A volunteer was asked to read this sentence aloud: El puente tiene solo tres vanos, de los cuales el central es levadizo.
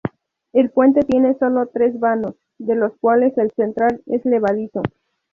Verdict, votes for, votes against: rejected, 2, 2